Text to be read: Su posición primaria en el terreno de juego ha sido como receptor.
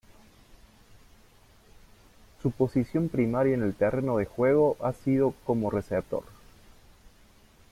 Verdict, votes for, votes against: rejected, 0, 2